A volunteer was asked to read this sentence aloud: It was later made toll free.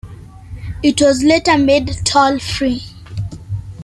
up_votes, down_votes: 2, 0